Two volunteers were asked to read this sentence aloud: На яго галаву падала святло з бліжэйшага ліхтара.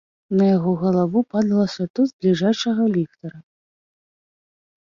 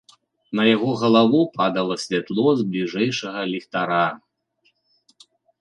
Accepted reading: second